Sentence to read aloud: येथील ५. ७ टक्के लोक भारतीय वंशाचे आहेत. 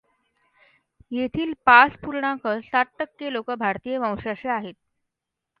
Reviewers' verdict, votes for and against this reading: rejected, 0, 2